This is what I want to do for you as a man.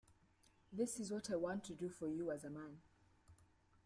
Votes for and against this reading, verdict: 0, 2, rejected